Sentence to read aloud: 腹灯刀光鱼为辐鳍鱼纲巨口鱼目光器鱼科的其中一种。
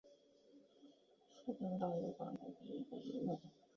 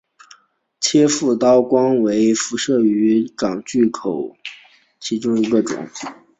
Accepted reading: second